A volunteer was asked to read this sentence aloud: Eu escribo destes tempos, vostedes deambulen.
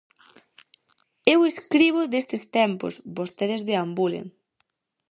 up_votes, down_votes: 2, 2